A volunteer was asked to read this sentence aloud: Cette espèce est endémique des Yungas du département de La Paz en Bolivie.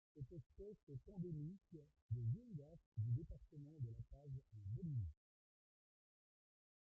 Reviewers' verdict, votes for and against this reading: rejected, 0, 2